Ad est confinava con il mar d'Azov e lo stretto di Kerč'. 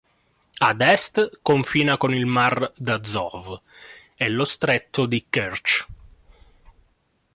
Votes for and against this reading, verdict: 0, 2, rejected